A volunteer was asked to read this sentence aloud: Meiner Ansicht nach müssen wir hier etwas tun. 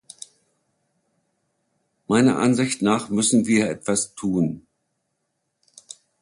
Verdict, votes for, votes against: rejected, 0, 2